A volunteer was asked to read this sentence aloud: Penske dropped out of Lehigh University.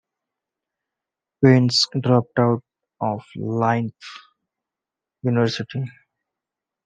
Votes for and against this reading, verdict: 0, 2, rejected